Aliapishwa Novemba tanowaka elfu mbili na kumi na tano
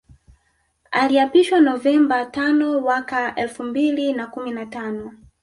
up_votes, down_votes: 1, 2